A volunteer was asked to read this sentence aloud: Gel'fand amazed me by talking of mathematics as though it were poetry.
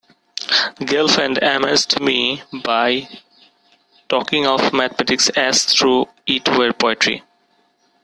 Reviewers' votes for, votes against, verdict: 1, 2, rejected